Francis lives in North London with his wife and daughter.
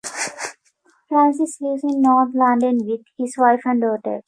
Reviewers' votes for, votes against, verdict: 2, 1, accepted